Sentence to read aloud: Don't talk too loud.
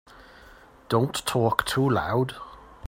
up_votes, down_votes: 3, 0